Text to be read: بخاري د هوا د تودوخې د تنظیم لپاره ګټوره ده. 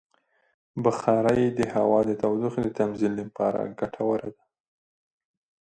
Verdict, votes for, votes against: accepted, 2, 0